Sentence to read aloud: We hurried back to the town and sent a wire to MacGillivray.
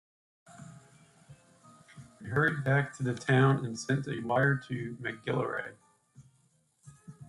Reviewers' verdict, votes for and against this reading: rejected, 0, 3